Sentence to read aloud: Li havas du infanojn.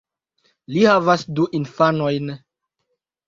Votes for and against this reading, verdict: 2, 1, accepted